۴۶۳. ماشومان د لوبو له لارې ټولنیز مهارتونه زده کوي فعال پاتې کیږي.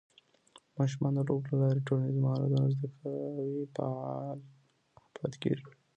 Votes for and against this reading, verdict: 0, 2, rejected